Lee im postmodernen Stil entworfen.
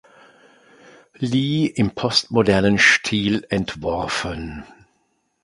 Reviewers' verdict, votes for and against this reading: accepted, 2, 0